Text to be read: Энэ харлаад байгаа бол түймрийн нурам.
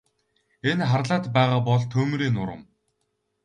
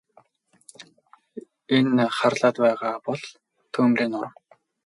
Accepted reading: first